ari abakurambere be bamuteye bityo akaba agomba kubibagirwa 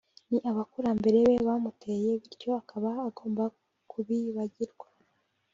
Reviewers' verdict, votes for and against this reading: rejected, 1, 2